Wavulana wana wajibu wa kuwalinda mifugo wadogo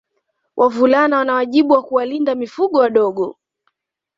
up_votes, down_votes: 2, 1